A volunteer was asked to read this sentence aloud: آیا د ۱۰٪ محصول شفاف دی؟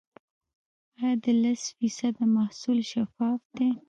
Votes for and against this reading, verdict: 0, 2, rejected